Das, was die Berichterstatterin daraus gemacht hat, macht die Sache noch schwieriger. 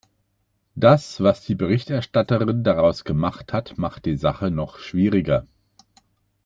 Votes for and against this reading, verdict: 2, 0, accepted